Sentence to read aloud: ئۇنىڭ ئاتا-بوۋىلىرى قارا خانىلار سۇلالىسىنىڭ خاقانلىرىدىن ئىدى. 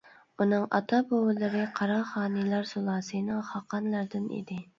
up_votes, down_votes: 1, 2